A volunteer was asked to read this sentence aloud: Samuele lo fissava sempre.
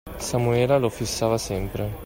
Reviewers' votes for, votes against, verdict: 2, 0, accepted